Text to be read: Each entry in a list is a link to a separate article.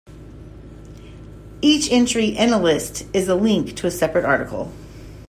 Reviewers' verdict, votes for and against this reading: accepted, 2, 0